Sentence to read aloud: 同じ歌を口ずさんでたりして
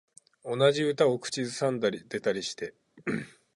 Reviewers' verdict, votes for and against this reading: rejected, 0, 4